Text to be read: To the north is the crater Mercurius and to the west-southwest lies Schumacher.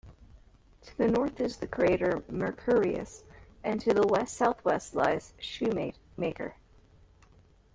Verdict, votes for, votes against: rejected, 0, 2